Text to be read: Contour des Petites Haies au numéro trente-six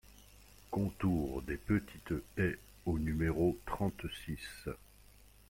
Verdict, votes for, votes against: accepted, 2, 0